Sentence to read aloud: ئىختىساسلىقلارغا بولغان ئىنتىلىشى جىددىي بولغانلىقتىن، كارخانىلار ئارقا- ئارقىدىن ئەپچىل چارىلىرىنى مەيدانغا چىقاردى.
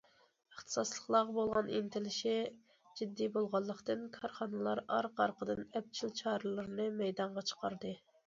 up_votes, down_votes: 2, 0